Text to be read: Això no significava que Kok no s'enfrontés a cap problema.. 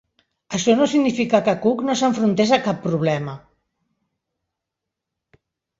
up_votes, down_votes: 1, 2